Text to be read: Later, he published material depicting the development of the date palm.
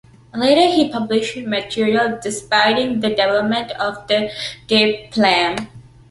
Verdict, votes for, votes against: rejected, 0, 2